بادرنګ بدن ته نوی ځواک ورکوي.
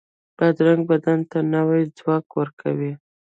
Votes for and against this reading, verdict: 1, 2, rejected